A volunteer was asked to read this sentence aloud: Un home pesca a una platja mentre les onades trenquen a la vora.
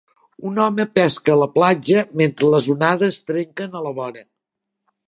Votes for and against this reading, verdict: 1, 2, rejected